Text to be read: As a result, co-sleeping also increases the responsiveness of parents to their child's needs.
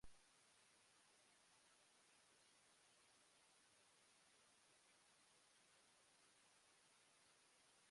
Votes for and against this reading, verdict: 0, 2, rejected